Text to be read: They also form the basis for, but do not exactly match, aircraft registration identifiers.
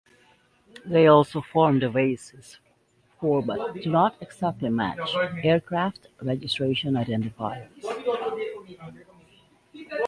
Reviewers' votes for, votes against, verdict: 2, 0, accepted